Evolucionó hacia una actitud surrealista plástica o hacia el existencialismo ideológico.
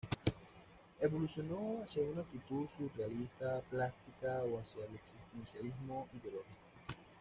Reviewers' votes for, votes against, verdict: 0, 2, rejected